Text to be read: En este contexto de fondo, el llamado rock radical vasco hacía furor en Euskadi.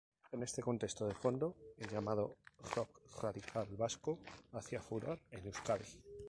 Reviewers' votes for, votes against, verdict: 2, 2, rejected